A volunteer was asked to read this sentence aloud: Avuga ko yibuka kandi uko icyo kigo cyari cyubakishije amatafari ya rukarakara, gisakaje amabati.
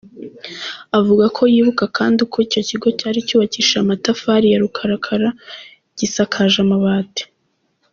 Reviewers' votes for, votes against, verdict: 2, 0, accepted